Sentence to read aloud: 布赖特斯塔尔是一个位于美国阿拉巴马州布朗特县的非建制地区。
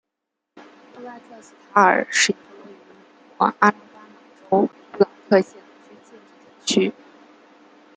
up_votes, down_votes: 0, 2